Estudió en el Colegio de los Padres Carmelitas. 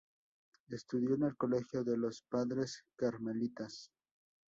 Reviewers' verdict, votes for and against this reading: accepted, 2, 0